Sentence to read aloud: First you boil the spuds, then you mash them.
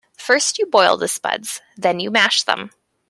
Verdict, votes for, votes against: accepted, 2, 0